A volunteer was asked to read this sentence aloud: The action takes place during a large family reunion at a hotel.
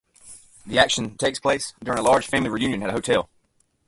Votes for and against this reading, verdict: 0, 2, rejected